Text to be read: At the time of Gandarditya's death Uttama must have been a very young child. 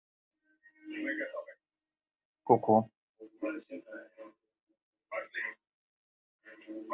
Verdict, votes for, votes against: rejected, 0, 2